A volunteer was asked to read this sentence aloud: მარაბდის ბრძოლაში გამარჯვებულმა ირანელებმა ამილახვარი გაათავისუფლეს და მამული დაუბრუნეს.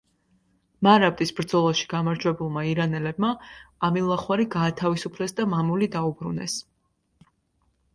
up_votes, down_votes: 2, 0